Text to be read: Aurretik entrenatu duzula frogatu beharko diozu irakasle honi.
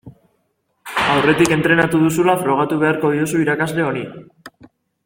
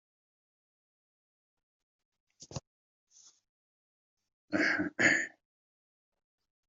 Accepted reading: first